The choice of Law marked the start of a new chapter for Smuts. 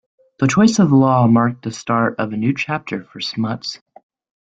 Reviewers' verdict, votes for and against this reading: accepted, 2, 0